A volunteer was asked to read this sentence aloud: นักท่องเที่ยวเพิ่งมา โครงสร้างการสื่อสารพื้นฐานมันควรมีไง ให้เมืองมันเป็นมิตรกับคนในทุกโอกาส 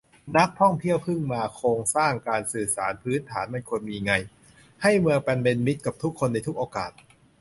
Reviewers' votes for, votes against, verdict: 0, 2, rejected